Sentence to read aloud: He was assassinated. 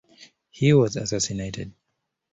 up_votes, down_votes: 2, 1